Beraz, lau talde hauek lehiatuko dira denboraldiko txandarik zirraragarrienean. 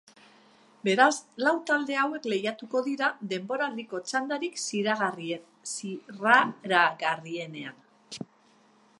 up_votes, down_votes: 0, 2